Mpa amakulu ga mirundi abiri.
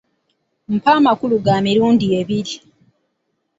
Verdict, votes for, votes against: accepted, 2, 0